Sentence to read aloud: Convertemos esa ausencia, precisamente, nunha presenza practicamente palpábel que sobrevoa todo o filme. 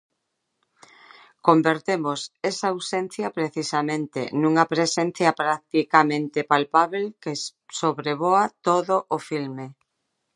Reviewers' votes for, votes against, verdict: 0, 3, rejected